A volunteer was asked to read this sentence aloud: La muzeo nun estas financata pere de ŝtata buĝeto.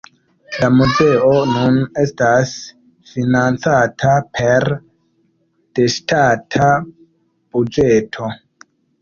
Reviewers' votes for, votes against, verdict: 1, 3, rejected